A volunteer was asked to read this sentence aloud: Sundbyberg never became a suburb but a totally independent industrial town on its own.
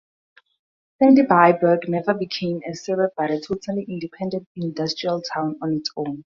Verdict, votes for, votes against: rejected, 0, 2